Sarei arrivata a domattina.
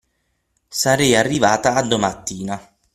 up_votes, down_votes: 9, 0